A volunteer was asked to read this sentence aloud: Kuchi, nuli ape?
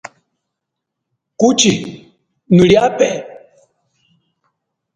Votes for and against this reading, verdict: 2, 0, accepted